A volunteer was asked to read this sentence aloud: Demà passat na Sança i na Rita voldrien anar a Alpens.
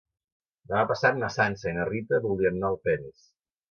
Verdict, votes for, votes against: accepted, 2, 1